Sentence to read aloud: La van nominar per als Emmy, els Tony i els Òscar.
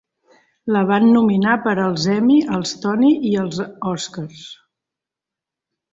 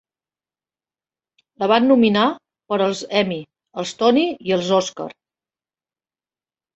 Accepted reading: second